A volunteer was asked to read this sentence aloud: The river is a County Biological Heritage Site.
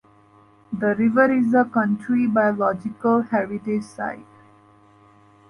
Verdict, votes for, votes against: rejected, 1, 2